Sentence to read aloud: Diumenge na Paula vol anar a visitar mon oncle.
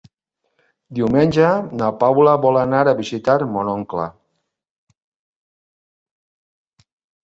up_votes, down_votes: 2, 0